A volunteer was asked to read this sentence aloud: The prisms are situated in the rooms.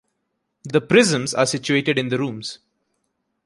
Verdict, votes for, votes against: rejected, 0, 2